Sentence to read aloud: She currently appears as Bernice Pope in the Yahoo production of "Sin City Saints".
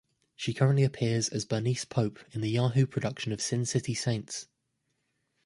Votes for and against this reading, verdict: 2, 0, accepted